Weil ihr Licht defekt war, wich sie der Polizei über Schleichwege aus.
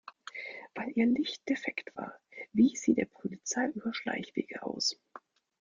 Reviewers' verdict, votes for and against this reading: accepted, 2, 1